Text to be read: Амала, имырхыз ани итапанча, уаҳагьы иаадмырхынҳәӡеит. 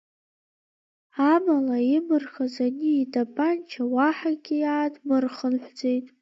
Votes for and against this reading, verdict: 3, 1, accepted